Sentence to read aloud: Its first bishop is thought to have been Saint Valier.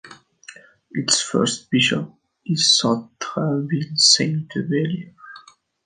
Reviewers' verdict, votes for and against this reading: rejected, 0, 2